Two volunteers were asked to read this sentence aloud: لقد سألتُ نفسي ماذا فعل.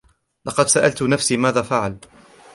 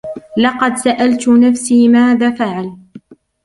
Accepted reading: first